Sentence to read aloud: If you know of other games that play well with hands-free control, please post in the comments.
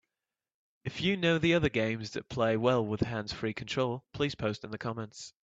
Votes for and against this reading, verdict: 1, 2, rejected